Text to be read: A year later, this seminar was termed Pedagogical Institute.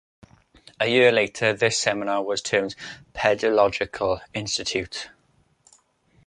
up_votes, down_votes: 0, 2